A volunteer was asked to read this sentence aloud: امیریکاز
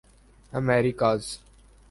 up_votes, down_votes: 2, 0